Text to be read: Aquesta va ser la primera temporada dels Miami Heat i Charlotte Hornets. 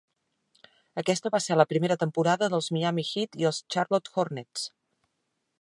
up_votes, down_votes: 1, 2